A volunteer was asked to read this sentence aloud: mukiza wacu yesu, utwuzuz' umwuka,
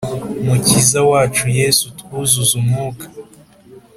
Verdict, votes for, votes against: accepted, 2, 0